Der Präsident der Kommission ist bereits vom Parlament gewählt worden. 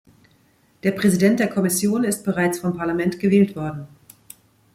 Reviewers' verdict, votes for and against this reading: accepted, 2, 0